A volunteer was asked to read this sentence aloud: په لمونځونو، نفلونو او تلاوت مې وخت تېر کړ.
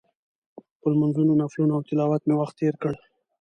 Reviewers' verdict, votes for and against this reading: accepted, 2, 0